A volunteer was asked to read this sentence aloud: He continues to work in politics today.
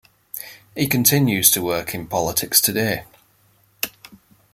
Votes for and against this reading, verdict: 0, 2, rejected